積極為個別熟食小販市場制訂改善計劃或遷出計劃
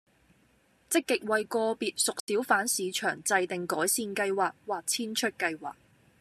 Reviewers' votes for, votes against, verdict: 0, 2, rejected